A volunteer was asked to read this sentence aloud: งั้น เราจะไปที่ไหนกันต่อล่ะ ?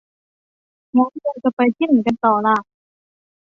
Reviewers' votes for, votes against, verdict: 0, 2, rejected